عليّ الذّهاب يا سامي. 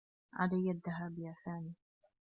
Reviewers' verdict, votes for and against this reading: rejected, 1, 2